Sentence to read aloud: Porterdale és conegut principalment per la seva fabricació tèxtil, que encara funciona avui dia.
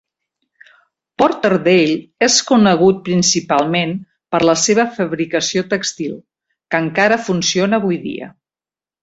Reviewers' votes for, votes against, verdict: 2, 1, accepted